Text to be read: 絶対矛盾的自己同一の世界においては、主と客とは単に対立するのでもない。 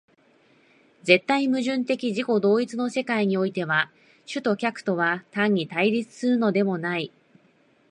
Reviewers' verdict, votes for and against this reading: rejected, 1, 2